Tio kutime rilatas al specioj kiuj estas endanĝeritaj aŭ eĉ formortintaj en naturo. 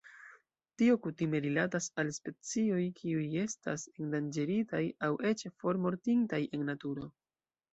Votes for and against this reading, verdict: 1, 2, rejected